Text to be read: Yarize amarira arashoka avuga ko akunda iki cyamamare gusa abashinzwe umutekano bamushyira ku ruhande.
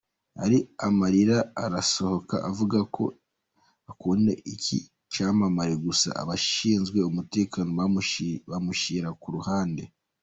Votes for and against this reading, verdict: 0, 2, rejected